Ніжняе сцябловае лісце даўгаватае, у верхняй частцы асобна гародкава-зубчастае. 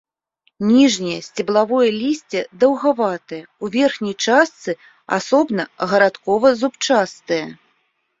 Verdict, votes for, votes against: rejected, 0, 2